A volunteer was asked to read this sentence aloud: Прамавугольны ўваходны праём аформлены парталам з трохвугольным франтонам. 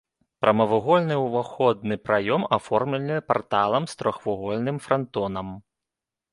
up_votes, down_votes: 1, 2